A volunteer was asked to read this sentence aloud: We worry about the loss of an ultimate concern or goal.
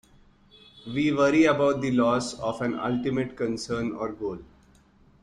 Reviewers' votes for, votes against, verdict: 2, 0, accepted